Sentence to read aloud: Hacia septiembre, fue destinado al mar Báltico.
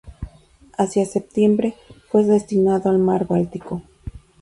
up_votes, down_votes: 0, 4